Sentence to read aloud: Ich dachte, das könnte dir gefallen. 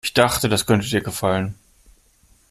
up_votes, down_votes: 2, 0